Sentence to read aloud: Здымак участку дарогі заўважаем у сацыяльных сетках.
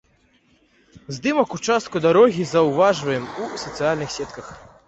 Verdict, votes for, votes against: rejected, 1, 2